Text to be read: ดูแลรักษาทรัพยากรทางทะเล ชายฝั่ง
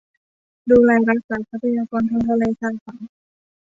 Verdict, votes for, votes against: accepted, 2, 0